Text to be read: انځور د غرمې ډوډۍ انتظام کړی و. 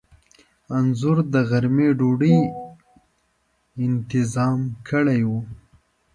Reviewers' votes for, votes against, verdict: 2, 0, accepted